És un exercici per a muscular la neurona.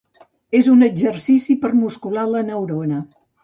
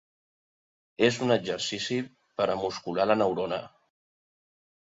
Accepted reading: second